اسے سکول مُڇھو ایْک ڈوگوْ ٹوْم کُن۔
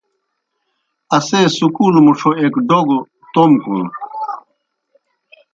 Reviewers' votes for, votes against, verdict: 1, 2, rejected